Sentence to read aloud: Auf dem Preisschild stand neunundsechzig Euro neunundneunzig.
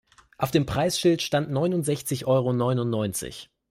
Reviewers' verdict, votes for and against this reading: accepted, 2, 0